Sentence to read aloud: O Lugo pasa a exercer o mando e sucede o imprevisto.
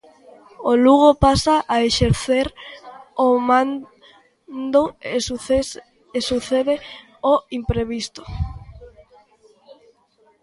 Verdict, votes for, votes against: rejected, 0, 2